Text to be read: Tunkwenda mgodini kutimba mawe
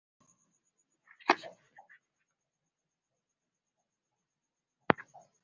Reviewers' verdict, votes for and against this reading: rejected, 0, 3